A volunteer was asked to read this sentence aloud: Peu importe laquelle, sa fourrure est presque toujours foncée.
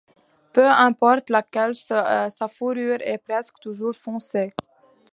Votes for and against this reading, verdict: 2, 0, accepted